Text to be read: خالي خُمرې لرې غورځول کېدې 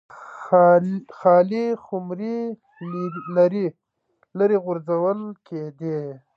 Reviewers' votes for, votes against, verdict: 0, 2, rejected